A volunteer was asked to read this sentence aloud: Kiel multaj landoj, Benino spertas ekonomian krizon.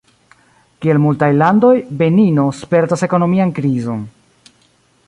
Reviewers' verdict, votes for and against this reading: accepted, 2, 0